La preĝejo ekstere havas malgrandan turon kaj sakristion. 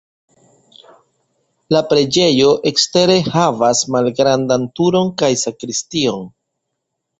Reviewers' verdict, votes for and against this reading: accepted, 2, 0